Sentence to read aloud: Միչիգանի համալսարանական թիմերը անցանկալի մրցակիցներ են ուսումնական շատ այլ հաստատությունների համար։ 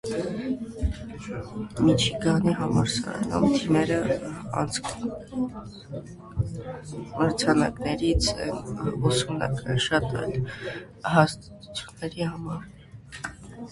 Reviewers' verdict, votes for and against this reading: rejected, 0, 2